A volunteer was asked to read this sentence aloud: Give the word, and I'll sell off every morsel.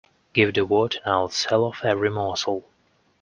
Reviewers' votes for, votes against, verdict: 2, 0, accepted